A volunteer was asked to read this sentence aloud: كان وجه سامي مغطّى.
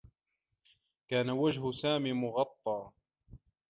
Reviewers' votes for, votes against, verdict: 2, 0, accepted